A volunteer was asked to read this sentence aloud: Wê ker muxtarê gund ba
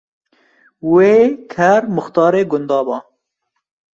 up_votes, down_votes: 1, 2